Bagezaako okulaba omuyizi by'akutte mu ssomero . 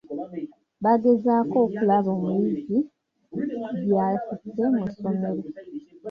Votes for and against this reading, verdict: 1, 2, rejected